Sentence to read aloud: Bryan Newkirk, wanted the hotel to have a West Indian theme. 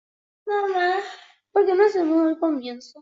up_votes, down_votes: 0, 2